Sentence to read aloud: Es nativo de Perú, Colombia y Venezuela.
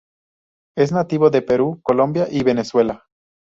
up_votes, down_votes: 2, 0